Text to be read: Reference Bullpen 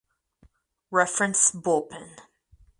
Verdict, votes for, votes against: accepted, 4, 0